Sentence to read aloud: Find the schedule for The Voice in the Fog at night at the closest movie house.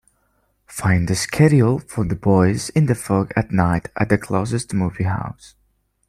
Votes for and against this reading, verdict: 3, 1, accepted